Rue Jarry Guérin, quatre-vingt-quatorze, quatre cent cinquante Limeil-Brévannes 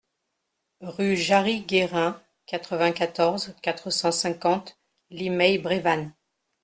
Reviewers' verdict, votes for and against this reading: accepted, 2, 0